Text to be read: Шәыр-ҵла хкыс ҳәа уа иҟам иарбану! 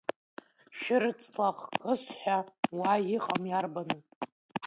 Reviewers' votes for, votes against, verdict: 0, 2, rejected